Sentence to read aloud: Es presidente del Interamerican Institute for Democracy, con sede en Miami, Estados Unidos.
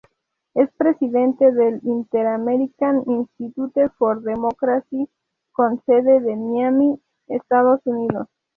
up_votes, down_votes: 2, 0